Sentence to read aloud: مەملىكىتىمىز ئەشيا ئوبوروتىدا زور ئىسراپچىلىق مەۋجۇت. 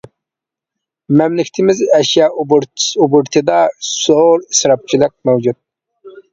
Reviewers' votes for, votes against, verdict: 0, 2, rejected